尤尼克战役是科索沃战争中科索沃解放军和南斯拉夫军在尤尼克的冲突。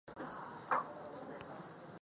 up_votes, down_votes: 0, 2